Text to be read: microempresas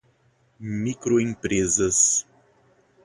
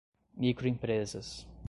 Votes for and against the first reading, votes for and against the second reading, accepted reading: 2, 2, 2, 0, second